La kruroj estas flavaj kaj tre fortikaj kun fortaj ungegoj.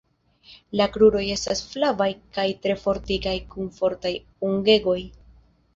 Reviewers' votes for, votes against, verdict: 0, 2, rejected